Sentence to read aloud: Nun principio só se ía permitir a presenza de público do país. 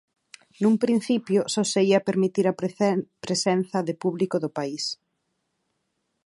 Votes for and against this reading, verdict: 2, 4, rejected